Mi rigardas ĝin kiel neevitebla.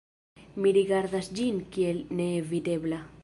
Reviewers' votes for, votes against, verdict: 2, 1, accepted